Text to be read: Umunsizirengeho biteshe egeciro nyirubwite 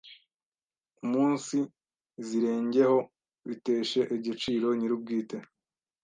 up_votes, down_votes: 1, 2